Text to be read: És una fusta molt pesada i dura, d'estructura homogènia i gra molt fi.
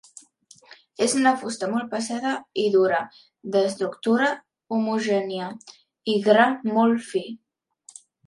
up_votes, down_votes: 2, 1